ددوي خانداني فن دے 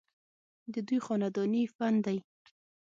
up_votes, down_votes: 3, 6